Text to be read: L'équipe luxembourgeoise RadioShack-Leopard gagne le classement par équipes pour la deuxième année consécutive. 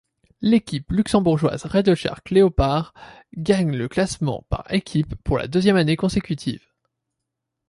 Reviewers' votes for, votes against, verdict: 2, 0, accepted